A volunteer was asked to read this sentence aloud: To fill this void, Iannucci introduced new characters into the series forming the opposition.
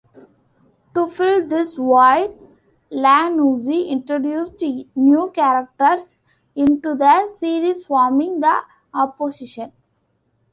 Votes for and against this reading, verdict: 0, 2, rejected